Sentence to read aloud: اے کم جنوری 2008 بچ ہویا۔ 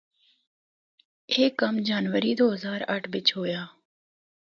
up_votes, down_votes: 0, 2